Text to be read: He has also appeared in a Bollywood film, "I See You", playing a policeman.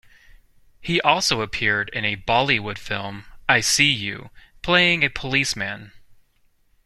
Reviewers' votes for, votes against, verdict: 0, 2, rejected